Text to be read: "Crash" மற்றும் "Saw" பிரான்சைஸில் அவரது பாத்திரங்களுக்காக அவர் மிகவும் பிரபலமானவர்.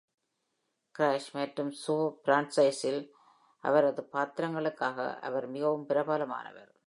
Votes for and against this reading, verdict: 2, 0, accepted